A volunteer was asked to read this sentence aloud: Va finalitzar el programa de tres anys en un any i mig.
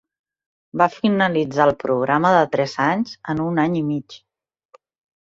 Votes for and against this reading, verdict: 3, 0, accepted